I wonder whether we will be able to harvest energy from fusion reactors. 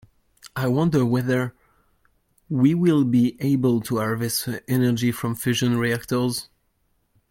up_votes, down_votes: 1, 2